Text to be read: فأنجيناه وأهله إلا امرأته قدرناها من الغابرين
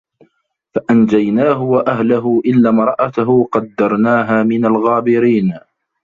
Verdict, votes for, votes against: rejected, 1, 2